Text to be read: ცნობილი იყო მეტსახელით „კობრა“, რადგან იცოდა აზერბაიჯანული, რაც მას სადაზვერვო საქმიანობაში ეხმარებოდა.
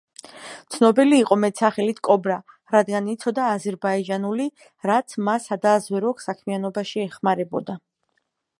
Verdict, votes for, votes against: rejected, 1, 2